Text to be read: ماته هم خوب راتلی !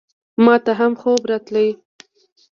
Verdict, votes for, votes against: accepted, 2, 0